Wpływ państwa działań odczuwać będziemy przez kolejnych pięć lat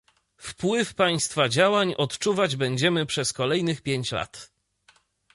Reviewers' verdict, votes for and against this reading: accepted, 2, 0